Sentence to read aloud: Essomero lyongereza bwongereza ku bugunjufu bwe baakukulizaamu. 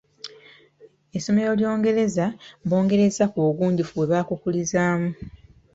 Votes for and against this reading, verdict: 2, 1, accepted